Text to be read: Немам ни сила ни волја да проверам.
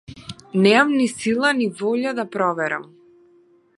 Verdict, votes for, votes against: rejected, 1, 2